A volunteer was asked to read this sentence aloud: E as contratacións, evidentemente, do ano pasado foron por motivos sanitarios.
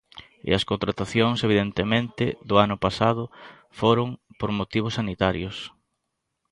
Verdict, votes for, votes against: accepted, 2, 1